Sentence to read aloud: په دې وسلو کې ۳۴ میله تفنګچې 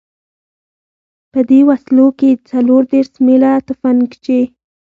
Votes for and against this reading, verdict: 0, 2, rejected